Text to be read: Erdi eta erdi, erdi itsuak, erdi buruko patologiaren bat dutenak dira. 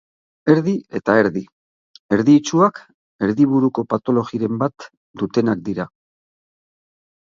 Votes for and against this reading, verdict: 3, 3, rejected